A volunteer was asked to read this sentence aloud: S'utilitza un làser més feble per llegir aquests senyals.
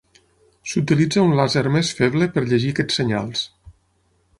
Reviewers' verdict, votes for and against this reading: accepted, 6, 0